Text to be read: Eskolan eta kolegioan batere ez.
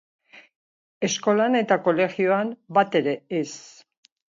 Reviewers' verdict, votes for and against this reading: accepted, 4, 1